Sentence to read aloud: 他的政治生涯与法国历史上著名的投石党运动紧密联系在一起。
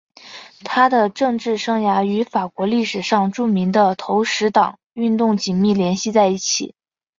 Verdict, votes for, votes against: accepted, 2, 0